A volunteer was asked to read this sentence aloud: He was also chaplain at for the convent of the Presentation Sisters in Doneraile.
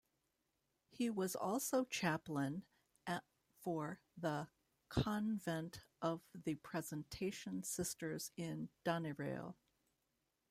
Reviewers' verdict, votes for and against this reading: rejected, 1, 2